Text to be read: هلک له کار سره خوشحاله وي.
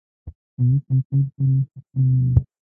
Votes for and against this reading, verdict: 1, 2, rejected